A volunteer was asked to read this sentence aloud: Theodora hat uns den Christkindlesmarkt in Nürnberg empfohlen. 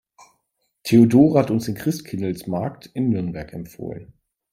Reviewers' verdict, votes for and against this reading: accepted, 2, 1